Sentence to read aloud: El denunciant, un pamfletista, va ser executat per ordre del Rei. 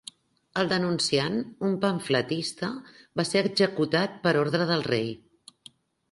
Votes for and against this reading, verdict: 3, 0, accepted